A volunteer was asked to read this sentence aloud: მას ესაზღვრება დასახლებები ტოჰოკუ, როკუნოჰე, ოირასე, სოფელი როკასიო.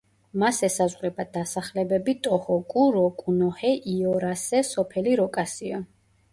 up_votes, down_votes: 0, 2